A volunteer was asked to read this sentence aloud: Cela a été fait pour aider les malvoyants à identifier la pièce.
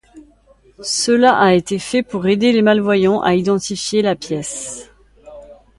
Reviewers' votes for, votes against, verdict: 2, 0, accepted